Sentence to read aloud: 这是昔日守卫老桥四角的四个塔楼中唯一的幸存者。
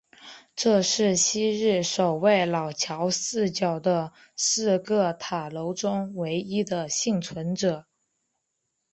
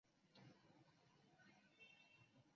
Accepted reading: first